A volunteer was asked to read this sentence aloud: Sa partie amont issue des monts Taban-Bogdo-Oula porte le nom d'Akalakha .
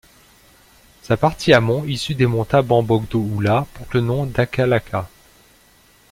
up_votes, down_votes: 2, 0